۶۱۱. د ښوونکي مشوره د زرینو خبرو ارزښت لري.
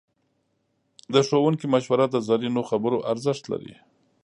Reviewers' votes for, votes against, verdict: 0, 2, rejected